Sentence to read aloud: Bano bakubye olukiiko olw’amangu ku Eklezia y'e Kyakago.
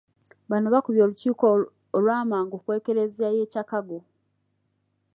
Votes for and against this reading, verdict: 2, 1, accepted